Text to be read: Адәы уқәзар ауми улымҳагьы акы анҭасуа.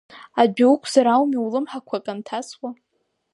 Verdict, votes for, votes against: rejected, 0, 2